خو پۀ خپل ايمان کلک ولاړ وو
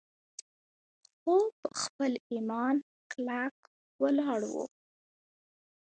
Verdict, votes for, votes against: accepted, 2, 1